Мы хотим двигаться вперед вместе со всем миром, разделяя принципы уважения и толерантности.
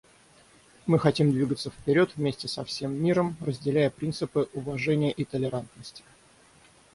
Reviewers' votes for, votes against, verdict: 3, 3, rejected